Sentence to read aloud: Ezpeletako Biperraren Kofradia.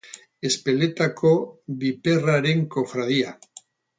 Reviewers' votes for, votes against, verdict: 0, 2, rejected